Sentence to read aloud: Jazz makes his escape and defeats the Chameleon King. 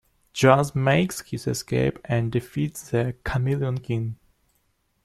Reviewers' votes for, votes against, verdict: 2, 0, accepted